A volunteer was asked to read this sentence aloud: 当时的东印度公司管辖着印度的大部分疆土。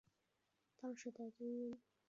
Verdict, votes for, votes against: rejected, 1, 2